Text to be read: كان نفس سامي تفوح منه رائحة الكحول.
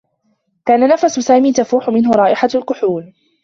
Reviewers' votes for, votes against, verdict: 2, 0, accepted